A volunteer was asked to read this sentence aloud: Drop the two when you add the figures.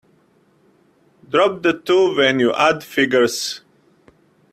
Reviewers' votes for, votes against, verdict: 0, 2, rejected